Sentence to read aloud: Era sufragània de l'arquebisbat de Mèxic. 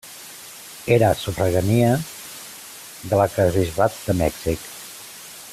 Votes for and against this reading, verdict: 0, 2, rejected